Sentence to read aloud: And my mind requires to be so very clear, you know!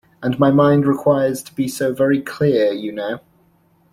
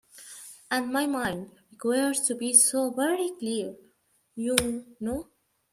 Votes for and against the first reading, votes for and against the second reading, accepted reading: 2, 0, 1, 2, first